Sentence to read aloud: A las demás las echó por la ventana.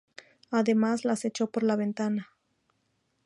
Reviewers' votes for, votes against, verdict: 2, 0, accepted